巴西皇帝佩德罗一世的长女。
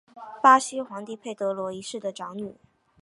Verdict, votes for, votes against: rejected, 2, 3